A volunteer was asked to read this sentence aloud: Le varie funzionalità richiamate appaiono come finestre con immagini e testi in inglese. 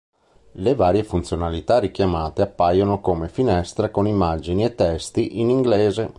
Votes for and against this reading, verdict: 3, 0, accepted